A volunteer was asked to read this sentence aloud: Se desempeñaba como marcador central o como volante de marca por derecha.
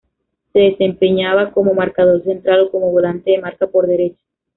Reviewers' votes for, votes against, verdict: 0, 2, rejected